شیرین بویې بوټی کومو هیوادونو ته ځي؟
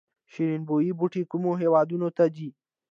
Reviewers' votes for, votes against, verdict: 2, 0, accepted